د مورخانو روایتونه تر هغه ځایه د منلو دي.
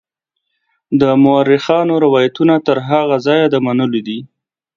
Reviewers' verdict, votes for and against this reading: accepted, 5, 1